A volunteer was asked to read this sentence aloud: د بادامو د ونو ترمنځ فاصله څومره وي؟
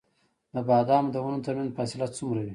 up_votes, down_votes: 2, 1